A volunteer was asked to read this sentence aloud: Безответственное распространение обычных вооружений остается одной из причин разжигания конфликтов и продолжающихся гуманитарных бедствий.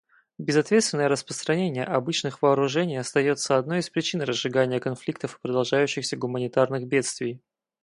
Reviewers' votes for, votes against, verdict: 4, 0, accepted